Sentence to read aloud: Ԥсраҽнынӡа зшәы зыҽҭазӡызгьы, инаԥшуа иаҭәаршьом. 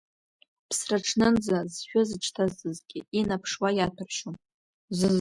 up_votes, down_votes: 2, 0